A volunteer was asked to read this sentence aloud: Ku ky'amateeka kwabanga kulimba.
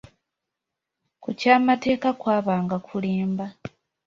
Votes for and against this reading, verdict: 2, 1, accepted